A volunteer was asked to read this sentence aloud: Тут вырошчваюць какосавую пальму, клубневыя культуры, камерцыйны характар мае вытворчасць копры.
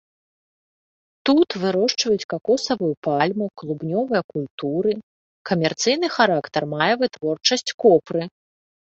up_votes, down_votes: 0, 2